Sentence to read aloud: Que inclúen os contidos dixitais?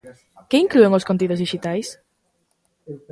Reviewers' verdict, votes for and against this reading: rejected, 1, 2